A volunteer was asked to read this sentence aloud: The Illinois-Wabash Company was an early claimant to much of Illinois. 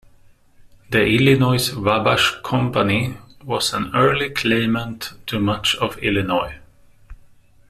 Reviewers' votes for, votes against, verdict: 1, 2, rejected